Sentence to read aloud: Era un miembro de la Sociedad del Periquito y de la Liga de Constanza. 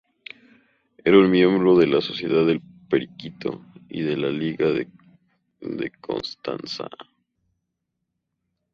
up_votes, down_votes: 0, 2